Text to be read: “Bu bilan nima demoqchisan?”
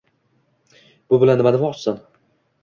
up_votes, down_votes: 2, 0